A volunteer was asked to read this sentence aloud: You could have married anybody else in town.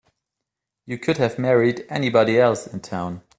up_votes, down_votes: 2, 0